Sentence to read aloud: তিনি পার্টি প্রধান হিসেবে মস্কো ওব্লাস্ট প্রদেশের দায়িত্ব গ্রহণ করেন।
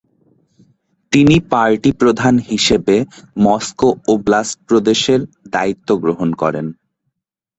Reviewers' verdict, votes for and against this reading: accepted, 2, 0